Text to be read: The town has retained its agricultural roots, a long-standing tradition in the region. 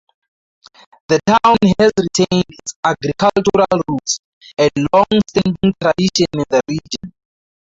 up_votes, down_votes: 0, 2